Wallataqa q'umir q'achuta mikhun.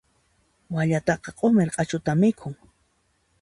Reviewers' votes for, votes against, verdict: 2, 0, accepted